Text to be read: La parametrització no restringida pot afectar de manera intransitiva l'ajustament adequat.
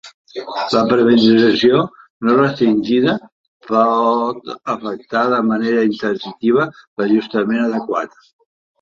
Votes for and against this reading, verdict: 0, 2, rejected